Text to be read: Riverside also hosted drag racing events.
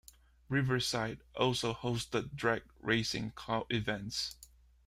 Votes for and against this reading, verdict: 0, 2, rejected